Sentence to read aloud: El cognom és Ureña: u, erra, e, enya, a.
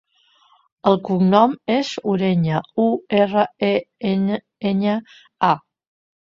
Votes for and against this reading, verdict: 0, 2, rejected